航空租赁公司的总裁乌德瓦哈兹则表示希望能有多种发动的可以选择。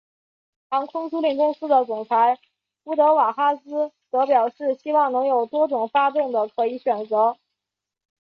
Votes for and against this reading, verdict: 3, 0, accepted